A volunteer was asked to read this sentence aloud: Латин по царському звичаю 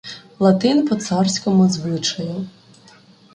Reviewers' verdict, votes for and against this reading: accepted, 2, 0